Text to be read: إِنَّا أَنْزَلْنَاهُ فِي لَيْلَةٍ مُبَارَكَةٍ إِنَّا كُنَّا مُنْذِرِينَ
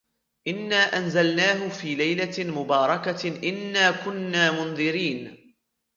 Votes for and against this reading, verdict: 1, 2, rejected